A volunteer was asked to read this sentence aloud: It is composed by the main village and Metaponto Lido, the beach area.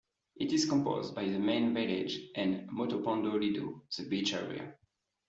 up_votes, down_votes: 2, 1